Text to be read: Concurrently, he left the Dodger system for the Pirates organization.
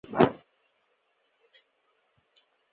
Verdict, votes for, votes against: rejected, 0, 2